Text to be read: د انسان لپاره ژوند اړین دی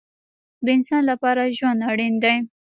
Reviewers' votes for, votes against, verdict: 1, 2, rejected